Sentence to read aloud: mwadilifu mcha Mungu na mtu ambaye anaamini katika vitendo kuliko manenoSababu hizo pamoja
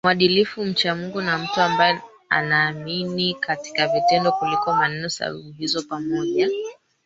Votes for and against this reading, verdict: 0, 3, rejected